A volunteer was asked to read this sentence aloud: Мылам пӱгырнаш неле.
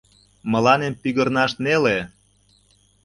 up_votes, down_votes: 1, 2